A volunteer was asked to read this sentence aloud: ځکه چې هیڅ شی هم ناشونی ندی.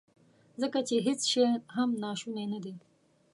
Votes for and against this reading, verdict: 0, 2, rejected